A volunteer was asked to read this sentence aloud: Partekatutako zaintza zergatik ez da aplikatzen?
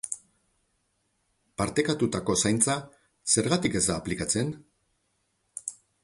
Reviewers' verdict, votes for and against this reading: accepted, 2, 0